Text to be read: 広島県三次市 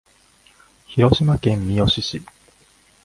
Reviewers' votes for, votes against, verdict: 1, 2, rejected